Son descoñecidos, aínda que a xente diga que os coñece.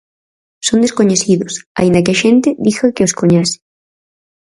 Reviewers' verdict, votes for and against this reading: accepted, 4, 0